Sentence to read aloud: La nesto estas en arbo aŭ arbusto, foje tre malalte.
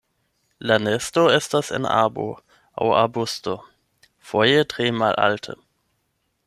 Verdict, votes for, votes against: accepted, 8, 4